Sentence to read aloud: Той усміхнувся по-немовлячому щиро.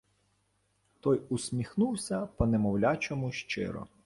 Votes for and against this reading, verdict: 2, 0, accepted